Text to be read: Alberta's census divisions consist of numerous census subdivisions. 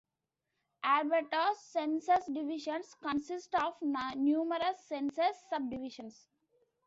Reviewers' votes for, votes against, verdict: 1, 2, rejected